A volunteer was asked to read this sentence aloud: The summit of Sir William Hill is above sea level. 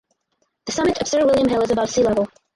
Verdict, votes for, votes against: rejected, 0, 4